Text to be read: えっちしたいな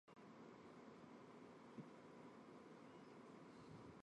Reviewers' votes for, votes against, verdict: 0, 2, rejected